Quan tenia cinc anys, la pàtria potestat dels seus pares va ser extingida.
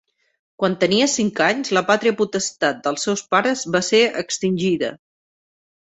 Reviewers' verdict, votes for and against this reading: accepted, 2, 0